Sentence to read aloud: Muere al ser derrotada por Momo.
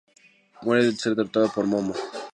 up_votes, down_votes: 0, 2